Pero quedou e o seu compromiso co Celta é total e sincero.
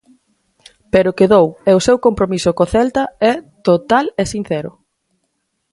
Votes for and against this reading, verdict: 4, 2, accepted